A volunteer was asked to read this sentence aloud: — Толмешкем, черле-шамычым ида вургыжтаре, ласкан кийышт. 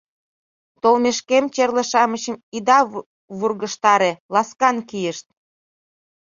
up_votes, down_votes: 0, 2